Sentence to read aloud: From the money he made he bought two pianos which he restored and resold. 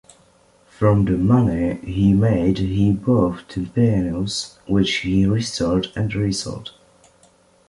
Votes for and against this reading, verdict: 2, 0, accepted